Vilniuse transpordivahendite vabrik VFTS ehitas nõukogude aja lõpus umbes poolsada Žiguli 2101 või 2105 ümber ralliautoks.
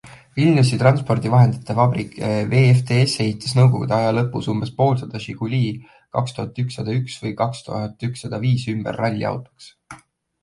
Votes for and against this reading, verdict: 0, 2, rejected